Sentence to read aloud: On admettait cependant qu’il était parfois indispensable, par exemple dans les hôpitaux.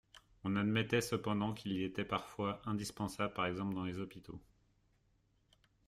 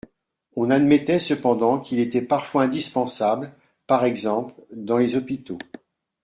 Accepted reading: second